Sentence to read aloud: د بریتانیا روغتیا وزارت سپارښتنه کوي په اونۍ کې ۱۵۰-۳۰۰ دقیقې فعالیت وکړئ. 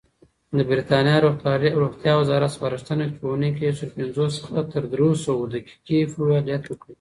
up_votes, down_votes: 0, 2